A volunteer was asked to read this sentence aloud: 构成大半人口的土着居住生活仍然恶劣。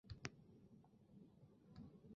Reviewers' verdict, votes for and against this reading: rejected, 0, 2